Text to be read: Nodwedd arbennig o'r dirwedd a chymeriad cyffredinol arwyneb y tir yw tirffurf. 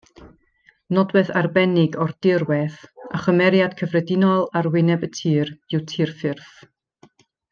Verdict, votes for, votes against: accepted, 2, 0